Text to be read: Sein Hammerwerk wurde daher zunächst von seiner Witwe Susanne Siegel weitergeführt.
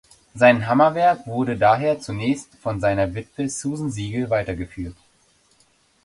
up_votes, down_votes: 1, 2